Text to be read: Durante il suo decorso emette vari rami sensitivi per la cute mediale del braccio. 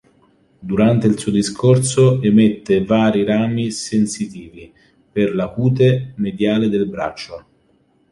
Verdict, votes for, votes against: rejected, 1, 3